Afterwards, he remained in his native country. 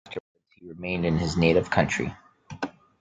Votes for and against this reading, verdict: 0, 2, rejected